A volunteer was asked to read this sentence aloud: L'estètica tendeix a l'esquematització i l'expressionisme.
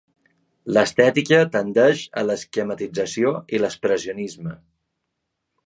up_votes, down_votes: 2, 0